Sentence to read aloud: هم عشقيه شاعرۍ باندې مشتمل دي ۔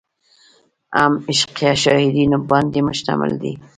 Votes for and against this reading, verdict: 1, 2, rejected